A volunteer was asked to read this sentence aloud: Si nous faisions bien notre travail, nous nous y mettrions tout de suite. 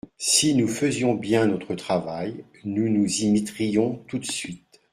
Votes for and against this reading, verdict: 2, 0, accepted